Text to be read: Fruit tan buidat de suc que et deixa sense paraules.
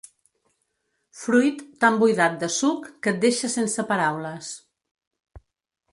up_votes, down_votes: 3, 0